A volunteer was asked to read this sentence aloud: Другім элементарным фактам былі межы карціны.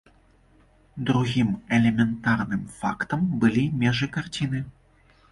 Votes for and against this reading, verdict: 2, 0, accepted